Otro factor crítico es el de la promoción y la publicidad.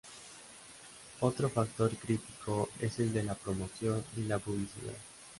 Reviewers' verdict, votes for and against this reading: accepted, 2, 0